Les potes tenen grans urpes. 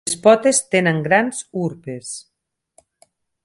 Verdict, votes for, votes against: rejected, 2, 4